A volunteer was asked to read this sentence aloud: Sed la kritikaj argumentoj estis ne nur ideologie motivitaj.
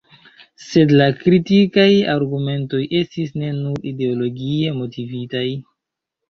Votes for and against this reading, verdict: 0, 2, rejected